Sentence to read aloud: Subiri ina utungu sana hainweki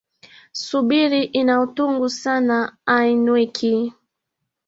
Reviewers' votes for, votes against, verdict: 1, 3, rejected